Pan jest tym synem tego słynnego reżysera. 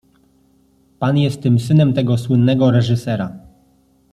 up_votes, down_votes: 2, 0